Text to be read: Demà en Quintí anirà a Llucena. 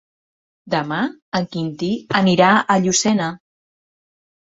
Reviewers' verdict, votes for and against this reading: accepted, 3, 0